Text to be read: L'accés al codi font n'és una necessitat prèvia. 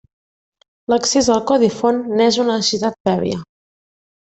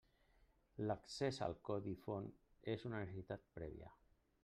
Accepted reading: first